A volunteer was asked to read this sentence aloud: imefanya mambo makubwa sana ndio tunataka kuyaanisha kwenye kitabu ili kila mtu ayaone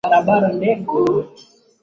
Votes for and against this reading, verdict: 1, 2, rejected